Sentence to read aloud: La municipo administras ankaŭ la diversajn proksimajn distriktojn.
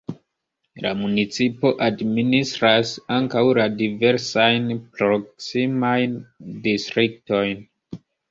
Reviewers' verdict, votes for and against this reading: rejected, 0, 2